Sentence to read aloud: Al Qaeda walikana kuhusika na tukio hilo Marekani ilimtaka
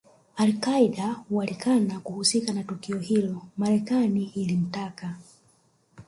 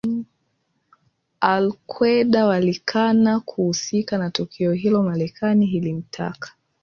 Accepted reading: second